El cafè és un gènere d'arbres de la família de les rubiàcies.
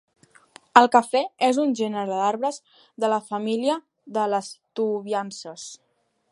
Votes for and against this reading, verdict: 0, 2, rejected